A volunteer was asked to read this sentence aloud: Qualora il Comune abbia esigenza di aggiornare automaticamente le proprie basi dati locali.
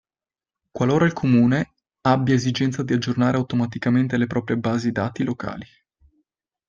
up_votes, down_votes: 2, 0